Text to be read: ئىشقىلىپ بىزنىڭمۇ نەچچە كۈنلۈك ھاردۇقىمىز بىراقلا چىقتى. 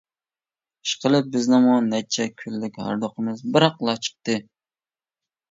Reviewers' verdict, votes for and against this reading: accepted, 2, 0